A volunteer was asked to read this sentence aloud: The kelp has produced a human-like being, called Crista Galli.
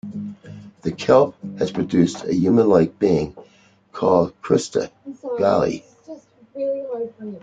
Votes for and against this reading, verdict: 2, 0, accepted